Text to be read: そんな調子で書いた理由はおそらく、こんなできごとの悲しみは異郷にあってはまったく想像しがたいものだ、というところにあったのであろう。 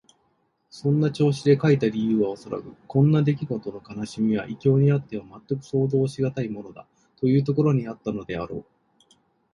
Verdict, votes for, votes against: accepted, 2, 0